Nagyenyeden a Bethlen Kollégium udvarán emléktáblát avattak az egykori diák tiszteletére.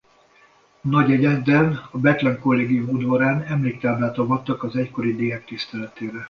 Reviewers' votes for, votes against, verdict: 2, 0, accepted